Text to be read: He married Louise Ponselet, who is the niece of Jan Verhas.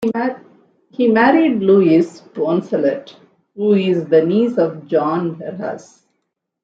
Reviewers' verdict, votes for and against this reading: rejected, 0, 2